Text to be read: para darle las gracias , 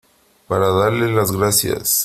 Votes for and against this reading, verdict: 3, 0, accepted